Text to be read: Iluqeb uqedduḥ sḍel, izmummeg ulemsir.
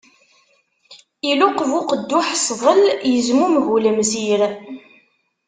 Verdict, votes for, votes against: accepted, 2, 0